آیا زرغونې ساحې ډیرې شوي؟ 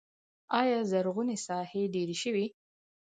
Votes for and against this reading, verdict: 2, 4, rejected